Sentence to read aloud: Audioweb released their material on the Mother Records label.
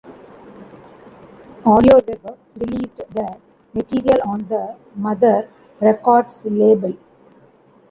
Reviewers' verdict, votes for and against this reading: rejected, 0, 2